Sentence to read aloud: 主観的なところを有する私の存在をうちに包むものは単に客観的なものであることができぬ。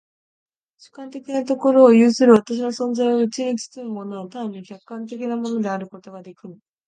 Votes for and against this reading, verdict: 2, 1, accepted